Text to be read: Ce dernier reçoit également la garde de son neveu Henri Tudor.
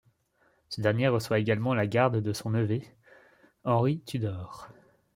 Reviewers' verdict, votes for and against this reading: rejected, 1, 2